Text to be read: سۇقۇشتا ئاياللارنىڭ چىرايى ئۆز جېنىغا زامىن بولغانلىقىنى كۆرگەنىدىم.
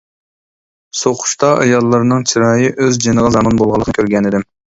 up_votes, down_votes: 0, 2